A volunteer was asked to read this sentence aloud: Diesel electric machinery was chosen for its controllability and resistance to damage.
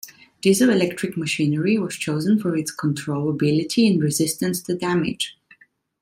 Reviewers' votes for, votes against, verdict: 2, 0, accepted